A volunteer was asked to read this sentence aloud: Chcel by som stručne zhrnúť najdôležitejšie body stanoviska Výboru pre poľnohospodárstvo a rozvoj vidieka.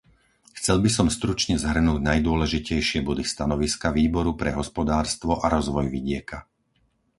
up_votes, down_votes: 0, 4